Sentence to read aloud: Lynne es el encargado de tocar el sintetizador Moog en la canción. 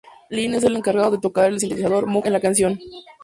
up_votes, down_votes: 2, 0